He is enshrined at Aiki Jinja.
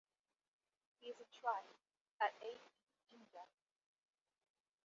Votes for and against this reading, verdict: 0, 2, rejected